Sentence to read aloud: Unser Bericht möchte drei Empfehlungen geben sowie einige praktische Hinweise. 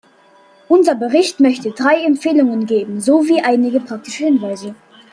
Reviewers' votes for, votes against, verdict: 1, 2, rejected